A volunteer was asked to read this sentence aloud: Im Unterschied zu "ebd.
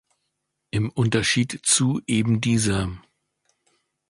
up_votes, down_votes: 2, 3